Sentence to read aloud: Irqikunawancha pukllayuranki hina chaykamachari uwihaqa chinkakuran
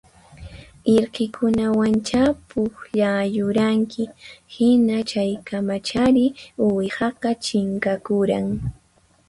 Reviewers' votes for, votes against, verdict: 4, 0, accepted